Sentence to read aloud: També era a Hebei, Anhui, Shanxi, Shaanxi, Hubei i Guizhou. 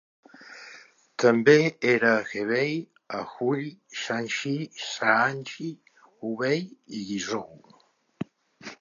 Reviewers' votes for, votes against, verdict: 1, 2, rejected